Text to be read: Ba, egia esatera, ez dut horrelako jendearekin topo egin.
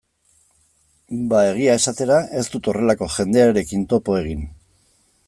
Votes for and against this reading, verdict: 2, 0, accepted